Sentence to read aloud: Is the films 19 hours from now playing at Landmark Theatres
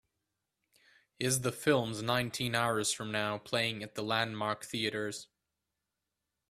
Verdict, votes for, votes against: rejected, 0, 2